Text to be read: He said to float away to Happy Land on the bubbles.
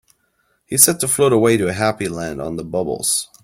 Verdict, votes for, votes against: rejected, 0, 2